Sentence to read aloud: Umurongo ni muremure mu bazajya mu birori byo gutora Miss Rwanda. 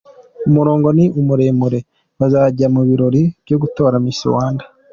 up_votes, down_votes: 2, 1